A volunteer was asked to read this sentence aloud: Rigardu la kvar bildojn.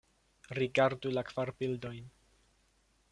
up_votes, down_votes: 2, 0